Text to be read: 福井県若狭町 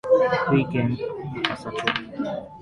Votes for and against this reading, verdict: 1, 2, rejected